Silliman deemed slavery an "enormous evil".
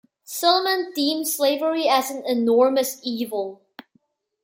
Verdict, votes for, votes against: rejected, 1, 2